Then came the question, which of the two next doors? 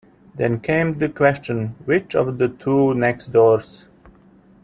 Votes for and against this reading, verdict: 2, 0, accepted